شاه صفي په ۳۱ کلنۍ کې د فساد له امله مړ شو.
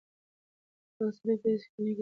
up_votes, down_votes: 0, 2